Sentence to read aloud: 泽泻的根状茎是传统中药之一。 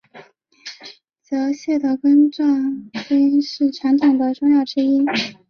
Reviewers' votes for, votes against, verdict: 2, 1, accepted